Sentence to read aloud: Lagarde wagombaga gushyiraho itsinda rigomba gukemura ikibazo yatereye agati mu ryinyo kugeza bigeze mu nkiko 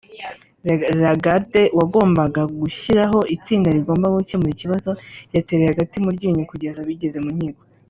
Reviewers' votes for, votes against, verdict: 1, 2, rejected